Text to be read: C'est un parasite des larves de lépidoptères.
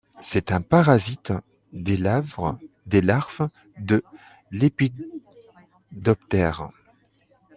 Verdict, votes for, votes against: rejected, 0, 2